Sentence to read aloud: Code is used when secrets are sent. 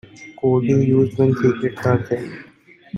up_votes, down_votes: 0, 2